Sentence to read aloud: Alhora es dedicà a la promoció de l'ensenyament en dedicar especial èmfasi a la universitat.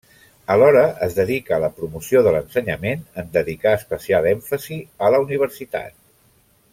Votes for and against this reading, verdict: 0, 2, rejected